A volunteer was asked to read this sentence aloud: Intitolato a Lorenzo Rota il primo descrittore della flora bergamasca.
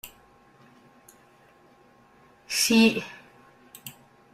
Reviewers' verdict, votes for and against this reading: rejected, 1, 2